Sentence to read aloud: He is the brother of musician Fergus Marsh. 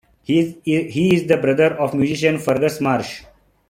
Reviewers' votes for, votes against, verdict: 0, 2, rejected